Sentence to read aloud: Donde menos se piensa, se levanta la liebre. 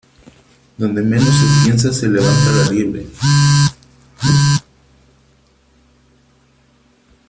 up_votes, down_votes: 0, 3